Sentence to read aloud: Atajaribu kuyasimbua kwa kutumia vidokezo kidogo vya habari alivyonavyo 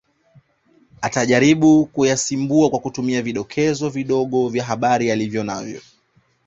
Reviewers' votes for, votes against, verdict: 2, 0, accepted